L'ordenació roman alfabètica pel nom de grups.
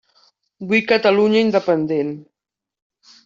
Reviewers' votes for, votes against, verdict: 0, 2, rejected